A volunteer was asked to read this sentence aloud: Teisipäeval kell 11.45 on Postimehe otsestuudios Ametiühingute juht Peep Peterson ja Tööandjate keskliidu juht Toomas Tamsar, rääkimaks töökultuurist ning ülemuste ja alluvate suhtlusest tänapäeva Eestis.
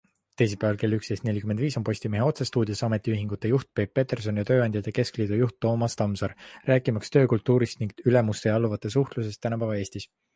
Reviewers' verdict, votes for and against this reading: rejected, 0, 2